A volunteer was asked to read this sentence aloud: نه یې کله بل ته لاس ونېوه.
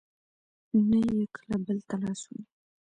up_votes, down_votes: 2, 0